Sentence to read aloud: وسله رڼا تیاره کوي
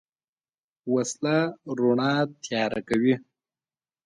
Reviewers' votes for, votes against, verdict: 2, 0, accepted